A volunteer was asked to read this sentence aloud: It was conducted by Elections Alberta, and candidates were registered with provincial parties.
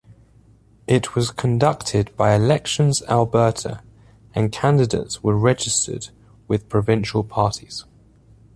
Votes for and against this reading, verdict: 2, 0, accepted